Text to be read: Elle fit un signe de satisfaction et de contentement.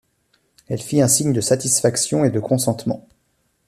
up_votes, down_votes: 1, 2